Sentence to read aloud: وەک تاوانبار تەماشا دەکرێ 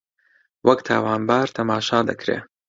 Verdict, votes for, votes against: accepted, 2, 0